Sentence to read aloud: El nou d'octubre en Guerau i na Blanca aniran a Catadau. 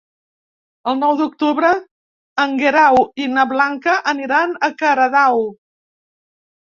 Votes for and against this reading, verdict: 2, 0, accepted